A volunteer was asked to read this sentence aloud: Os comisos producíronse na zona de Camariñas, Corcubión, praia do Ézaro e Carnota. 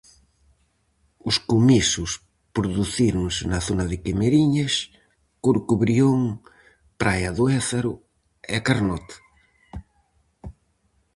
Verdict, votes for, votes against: rejected, 0, 4